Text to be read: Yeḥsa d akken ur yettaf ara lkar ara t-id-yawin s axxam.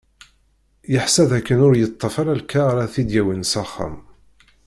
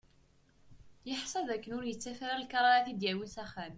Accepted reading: second